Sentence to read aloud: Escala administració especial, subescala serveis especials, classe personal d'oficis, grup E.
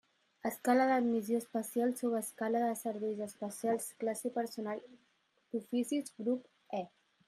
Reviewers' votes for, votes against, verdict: 0, 2, rejected